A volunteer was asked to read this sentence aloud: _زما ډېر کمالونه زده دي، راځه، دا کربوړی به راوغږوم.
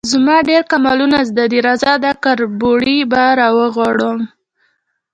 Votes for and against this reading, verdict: 0, 2, rejected